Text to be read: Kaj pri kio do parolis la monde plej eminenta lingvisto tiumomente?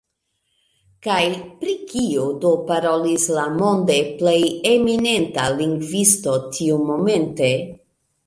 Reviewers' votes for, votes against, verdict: 2, 0, accepted